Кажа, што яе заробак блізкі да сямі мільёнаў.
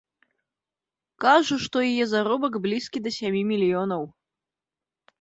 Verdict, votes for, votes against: accepted, 2, 0